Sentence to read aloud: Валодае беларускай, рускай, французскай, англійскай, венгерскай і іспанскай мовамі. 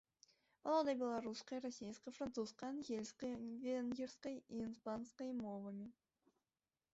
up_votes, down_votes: 1, 2